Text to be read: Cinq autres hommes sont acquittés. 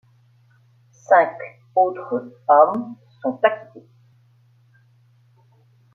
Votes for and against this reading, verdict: 2, 0, accepted